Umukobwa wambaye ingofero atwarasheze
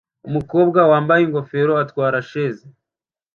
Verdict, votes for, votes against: accepted, 2, 0